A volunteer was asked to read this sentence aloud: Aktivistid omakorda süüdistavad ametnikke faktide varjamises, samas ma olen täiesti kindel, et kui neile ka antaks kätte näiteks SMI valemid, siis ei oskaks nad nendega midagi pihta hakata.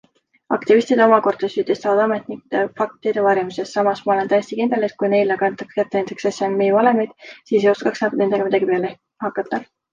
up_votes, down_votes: 2, 1